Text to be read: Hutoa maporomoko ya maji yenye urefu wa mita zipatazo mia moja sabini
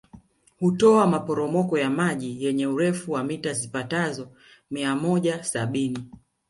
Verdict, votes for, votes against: rejected, 0, 2